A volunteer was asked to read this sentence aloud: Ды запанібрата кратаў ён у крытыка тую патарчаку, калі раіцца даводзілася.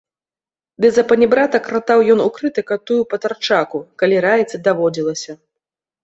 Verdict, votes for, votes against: rejected, 1, 2